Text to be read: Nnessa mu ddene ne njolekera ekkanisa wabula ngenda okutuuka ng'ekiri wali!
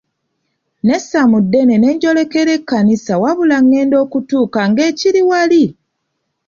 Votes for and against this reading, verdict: 2, 0, accepted